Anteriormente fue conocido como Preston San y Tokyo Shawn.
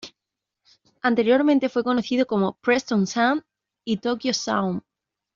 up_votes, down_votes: 2, 0